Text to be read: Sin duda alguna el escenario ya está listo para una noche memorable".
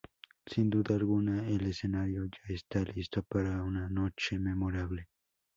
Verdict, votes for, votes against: rejected, 2, 2